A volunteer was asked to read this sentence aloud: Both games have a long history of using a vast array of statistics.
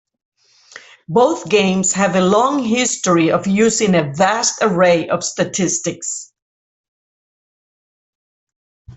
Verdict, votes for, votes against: accepted, 2, 1